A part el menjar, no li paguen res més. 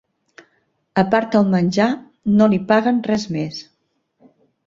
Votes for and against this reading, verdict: 2, 0, accepted